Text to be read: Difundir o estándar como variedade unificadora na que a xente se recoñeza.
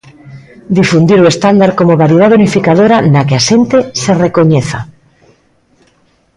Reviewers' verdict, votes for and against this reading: rejected, 0, 2